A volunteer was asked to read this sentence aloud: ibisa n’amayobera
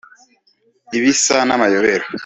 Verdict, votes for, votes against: accepted, 2, 0